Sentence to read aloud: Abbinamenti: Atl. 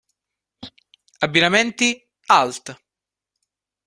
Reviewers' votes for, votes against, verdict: 0, 2, rejected